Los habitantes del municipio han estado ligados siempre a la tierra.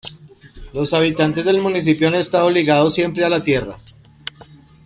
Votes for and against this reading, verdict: 1, 2, rejected